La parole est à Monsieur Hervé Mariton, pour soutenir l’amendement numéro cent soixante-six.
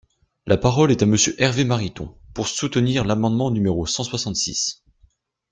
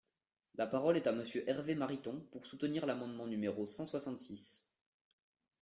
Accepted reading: first